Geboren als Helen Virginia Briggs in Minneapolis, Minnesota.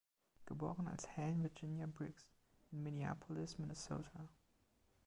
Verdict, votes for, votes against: accepted, 2, 1